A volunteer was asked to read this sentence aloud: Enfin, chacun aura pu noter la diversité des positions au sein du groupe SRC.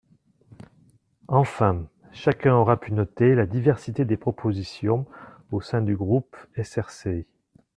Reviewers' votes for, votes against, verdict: 1, 2, rejected